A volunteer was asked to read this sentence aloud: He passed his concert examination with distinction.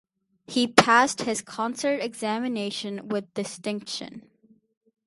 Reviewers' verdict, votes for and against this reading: accepted, 4, 0